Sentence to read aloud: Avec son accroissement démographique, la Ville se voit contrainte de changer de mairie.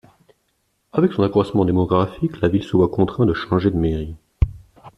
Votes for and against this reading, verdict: 2, 1, accepted